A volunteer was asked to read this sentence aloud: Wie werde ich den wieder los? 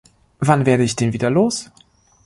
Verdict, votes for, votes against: rejected, 0, 2